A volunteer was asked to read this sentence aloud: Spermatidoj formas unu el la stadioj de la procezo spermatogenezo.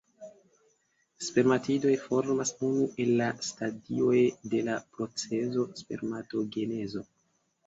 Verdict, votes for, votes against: rejected, 1, 2